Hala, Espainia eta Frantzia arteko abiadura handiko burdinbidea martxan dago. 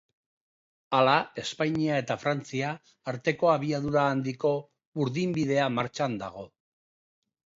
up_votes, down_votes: 5, 0